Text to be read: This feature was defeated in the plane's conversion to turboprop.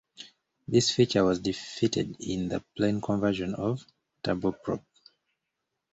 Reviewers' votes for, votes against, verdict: 0, 2, rejected